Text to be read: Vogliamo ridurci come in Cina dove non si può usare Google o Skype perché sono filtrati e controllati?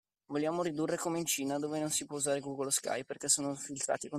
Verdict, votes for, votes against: rejected, 0, 2